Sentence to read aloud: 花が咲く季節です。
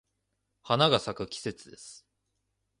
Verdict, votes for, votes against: accepted, 2, 0